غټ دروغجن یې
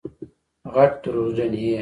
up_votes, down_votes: 1, 2